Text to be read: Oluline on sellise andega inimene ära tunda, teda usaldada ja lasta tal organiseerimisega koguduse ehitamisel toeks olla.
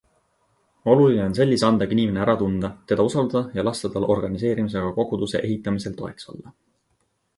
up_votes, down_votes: 2, 0